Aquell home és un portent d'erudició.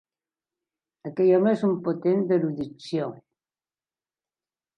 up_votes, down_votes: 1, 2